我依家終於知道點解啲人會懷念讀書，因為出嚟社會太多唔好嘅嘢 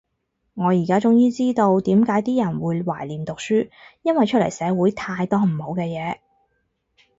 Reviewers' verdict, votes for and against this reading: rejected, 2, 4